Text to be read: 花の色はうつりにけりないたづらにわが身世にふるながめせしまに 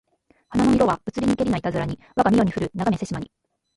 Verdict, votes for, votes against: rejected, 1, 2